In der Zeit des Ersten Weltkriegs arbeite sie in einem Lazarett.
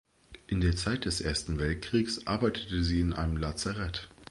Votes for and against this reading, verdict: 0, 2, rejected